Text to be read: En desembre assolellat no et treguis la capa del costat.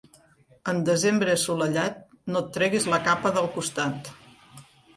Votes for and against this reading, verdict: 2, 0, accepted